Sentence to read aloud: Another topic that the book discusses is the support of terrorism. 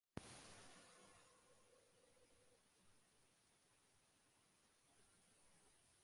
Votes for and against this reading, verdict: 0, 2, rejected